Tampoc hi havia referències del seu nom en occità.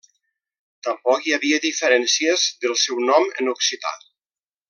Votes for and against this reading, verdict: 0, 2, rejected